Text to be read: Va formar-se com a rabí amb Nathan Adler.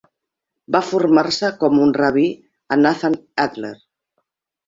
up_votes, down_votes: 2, 12